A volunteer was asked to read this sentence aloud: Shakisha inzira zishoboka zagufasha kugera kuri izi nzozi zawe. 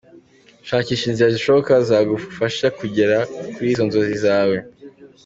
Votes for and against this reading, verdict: 2, 1, accepted